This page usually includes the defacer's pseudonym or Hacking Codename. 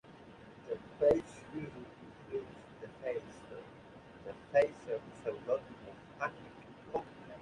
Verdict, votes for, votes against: accepted, 2, 1